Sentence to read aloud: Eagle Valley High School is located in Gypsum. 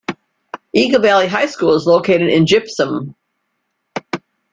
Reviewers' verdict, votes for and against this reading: accepted, 2, 1